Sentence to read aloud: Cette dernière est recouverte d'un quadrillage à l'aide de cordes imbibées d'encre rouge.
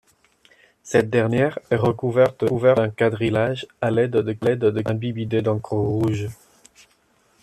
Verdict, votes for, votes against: rejected, 0, 2